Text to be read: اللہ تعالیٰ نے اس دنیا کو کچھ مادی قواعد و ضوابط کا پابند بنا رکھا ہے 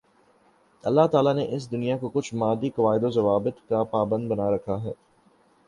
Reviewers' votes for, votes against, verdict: 3, 0, accepted